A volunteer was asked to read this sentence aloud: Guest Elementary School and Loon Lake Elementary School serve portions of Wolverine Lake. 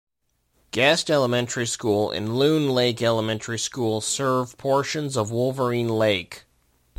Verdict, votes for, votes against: accepted, 2, 0